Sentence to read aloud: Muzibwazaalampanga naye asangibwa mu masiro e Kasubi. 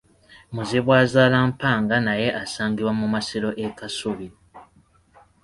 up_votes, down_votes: 2, 0